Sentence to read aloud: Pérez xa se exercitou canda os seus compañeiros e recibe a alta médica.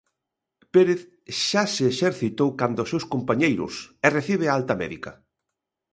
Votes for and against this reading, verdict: 2, 0, accepted